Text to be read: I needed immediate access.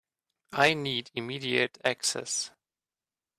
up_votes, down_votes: 1, 2